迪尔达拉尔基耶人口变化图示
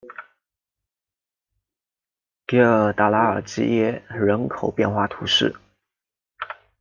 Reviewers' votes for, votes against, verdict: 2, 0, accepted